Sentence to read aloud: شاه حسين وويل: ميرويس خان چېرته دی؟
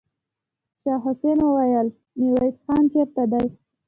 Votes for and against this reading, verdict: 1, 2, rejected